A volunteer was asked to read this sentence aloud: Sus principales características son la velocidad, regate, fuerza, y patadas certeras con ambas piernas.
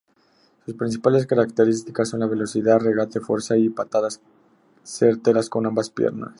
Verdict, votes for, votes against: accepted, 2, 0